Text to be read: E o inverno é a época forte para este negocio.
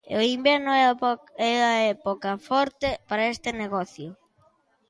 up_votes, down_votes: 1, 2